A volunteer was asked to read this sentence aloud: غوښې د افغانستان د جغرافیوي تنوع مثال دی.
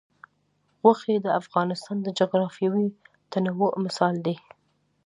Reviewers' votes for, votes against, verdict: 2, 0, accepted